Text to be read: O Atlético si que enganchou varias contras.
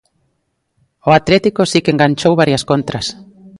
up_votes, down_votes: 2, 0